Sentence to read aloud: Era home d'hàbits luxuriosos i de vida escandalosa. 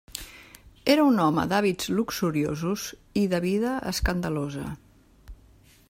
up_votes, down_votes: 1, 2